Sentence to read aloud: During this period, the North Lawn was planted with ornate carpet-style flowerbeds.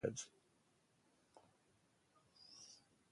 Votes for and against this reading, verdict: 0, 2, rejected